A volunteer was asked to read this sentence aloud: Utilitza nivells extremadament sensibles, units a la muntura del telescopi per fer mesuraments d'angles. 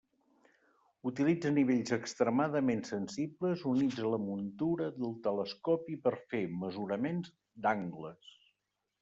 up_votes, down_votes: 2, 0